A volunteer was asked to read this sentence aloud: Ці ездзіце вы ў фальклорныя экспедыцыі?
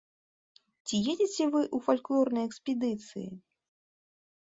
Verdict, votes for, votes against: rejected, 1, 2